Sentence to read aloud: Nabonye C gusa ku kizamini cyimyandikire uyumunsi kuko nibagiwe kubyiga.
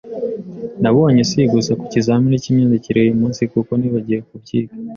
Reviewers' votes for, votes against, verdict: 1, 2, rejected